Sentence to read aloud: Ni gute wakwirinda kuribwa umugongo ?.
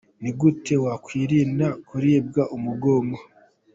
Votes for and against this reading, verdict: 2, 0, accepted